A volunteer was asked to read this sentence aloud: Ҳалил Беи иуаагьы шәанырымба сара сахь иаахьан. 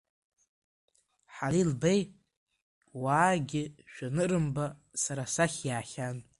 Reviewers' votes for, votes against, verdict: 0, 2, rejected